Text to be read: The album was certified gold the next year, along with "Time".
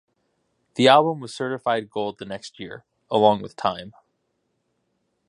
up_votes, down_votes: 2, 0